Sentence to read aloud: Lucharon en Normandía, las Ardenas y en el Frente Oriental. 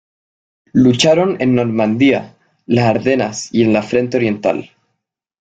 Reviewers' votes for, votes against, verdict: 0, 2, rejected